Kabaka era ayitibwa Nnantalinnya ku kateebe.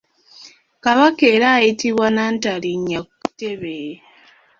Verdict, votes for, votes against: rejected, 0, 2